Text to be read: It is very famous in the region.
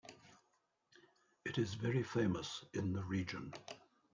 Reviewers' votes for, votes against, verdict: 2, 0, accepted